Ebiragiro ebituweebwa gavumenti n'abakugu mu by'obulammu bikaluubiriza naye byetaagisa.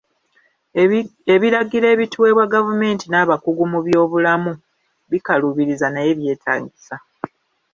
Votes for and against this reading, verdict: 2, 0, accepted